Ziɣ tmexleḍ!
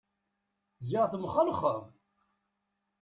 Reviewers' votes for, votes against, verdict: 0, 2, rejected